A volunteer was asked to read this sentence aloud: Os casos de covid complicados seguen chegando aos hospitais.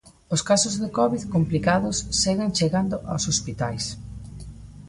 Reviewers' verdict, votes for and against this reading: accepted, 2, 0